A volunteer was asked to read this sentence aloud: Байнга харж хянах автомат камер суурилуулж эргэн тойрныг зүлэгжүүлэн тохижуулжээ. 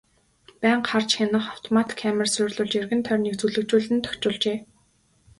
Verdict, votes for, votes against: accepted, 2, 0